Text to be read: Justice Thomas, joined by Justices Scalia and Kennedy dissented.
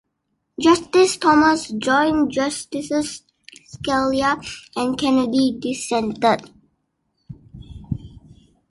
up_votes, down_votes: 1, 2